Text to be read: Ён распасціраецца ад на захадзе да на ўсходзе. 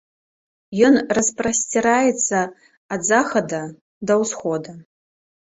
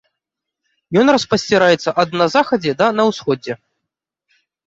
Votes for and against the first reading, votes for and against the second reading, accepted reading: 1, 3, 2, 0, second